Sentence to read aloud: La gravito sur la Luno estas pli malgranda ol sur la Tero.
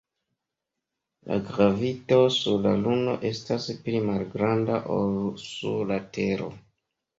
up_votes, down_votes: 2, 1